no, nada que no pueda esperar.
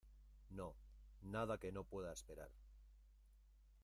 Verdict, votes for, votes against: rejected, 1, 2